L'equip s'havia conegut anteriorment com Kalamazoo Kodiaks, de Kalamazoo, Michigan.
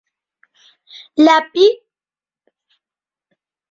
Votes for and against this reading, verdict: 0, 2, rejected